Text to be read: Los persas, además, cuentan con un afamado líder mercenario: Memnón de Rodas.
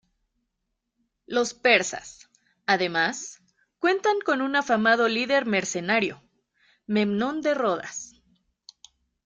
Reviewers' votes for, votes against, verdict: 2, 0, accepted